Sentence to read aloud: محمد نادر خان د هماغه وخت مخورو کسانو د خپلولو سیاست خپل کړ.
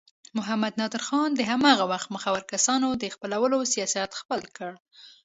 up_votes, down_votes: 2, 0